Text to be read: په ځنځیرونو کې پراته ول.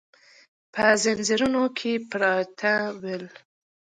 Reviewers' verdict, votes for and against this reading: accepted, 3, 0